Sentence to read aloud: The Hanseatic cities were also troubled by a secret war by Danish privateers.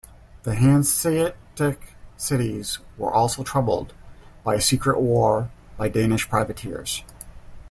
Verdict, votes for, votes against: rejected, 1, 2